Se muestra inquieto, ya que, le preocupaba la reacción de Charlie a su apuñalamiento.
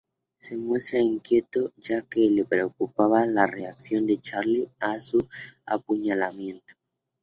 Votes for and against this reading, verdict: 2, 0, accepted